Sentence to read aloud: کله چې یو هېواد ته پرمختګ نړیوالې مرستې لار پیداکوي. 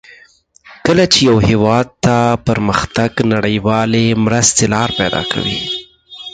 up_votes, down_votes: 2, 4